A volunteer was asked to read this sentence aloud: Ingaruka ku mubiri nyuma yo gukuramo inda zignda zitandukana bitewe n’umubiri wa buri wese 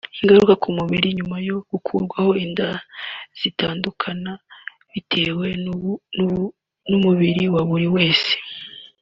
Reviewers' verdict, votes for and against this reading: rejected, 0, 3